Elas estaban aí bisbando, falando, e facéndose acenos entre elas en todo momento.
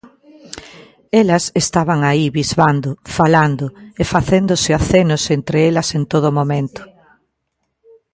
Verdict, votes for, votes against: accepted, 2, 0